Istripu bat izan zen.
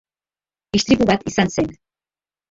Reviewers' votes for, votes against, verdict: 2, 1, accepted